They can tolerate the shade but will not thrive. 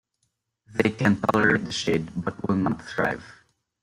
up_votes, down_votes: 0, 2